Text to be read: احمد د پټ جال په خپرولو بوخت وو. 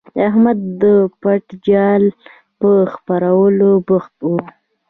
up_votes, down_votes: 2, 0